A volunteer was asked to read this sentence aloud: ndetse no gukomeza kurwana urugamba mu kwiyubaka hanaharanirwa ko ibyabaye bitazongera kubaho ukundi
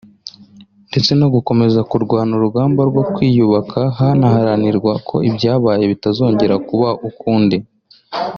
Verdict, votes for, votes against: rejected, 0, 2